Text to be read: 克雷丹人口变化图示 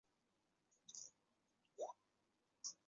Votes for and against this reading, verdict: 0, 2, rejected